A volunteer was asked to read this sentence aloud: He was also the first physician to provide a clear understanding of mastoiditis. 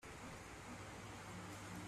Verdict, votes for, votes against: rejected, 0, 2